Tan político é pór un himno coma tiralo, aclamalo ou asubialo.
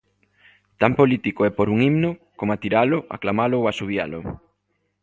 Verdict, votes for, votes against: accepted, 2, 0